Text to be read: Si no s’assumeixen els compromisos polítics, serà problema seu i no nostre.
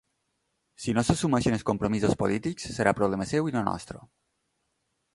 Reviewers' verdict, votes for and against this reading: accepted, 2, 0